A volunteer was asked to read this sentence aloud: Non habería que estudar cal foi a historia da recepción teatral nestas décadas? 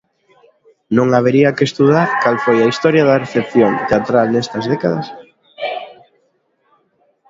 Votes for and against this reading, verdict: 1, 2, rejected